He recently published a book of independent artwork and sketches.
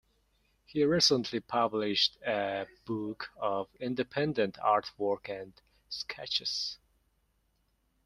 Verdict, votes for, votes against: accepted, 2, 0